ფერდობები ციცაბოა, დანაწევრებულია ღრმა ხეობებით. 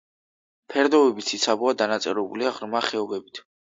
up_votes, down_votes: 2, 1